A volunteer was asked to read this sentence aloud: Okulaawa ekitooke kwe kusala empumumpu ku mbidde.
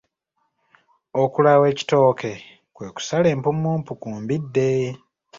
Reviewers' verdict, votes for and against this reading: accepted, 2, 0